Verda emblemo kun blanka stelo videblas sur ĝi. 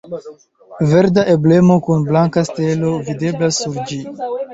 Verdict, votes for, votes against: accepted, 2, 0